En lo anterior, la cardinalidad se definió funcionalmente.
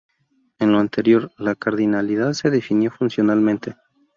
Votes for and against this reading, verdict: 0, 2, rejected